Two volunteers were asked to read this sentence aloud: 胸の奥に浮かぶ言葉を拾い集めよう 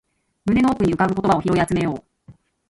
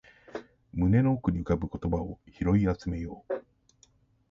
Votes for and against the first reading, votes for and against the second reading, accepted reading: 2, 0, 1, 2, first